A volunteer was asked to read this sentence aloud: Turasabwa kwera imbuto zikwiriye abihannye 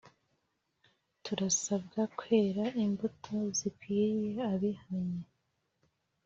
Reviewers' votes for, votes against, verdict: 3, 0, accepted